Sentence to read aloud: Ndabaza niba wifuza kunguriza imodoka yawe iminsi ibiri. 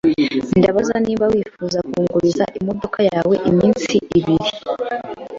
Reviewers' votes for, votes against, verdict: 2, 0, accepted